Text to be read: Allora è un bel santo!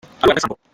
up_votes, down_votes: 0, 2